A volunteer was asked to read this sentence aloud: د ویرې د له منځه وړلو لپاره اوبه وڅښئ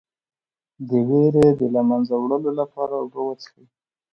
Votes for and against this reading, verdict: 2, 0, accepted